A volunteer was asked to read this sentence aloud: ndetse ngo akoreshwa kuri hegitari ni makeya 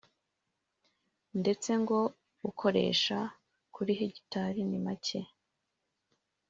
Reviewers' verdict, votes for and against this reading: rejected, 1, 3